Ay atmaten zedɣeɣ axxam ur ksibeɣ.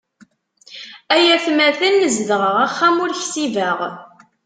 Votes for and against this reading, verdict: 2, 0, accepted